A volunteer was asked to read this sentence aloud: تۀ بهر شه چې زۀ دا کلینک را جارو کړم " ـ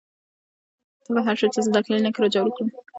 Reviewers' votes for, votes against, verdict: 0, 2, rejected